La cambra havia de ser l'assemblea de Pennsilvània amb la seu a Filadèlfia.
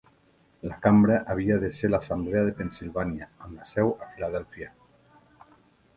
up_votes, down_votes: 2, 0